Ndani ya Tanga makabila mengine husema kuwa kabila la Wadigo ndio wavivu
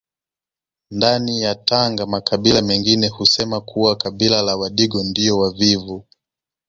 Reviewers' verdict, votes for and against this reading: accepted, 2, 0